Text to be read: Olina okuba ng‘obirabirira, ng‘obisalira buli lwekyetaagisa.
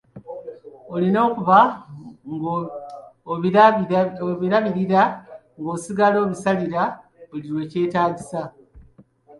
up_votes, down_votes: 0, 2